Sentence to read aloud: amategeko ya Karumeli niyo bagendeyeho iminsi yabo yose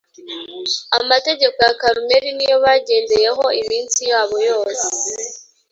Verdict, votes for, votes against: accepted, 3, 0